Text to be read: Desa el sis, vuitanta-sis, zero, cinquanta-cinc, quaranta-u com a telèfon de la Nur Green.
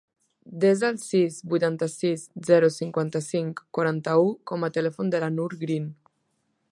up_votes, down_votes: 3, 0